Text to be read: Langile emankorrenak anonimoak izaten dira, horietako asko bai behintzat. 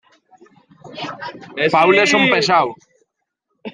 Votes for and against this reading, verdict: 0, 2, rejected